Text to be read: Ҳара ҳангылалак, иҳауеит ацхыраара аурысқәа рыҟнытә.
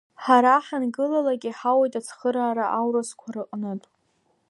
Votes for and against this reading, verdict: 2, 0, accepted